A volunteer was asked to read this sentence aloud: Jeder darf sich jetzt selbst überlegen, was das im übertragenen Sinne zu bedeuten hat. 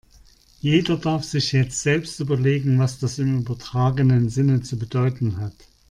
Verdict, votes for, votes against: accepted, 2, 0